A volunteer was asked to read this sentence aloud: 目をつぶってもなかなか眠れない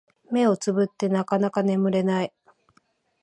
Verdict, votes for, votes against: rejected, 0, 2